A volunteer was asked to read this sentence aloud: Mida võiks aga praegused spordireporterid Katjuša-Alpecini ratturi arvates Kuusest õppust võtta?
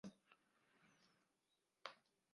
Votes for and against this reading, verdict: 0, 4, rejected